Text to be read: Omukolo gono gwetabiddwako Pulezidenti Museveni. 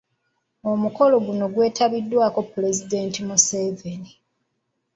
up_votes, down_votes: 1, 2